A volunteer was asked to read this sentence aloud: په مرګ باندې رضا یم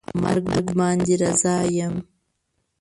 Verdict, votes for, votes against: rejected, 0, 2